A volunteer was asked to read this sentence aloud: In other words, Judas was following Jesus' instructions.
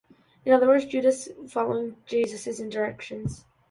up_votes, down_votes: 2, 1